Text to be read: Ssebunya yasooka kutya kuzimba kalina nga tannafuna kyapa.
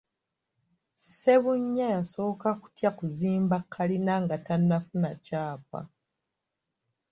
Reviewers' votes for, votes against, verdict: 3, 0, accepted